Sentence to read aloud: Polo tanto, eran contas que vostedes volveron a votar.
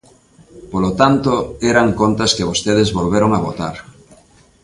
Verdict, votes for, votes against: accepted, 2, 0